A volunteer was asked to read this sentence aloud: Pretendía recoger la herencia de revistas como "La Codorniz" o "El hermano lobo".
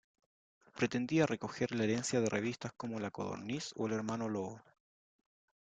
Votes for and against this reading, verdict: 2, 0, accepted